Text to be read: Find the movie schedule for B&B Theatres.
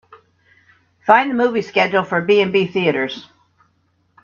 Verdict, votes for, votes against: accepted, 2, 1